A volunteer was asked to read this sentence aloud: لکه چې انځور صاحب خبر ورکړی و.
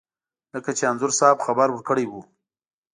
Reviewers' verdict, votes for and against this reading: accepted, 2, 0